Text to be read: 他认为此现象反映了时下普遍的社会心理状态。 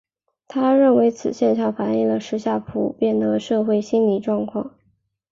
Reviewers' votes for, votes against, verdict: 2, 0, accepted